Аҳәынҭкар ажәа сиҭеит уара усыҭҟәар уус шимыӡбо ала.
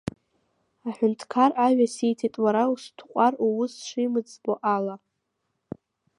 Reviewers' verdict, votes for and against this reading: accepted, 2, 1